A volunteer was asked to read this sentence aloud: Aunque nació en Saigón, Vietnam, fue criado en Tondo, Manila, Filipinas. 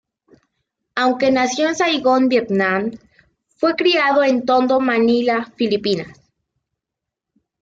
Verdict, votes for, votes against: accepted, 2, 0